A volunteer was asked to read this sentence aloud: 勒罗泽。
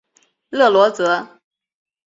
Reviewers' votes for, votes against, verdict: 2, 1, accepted